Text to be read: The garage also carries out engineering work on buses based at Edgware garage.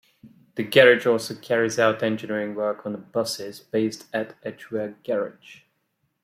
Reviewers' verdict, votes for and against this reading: accepted, 2, 0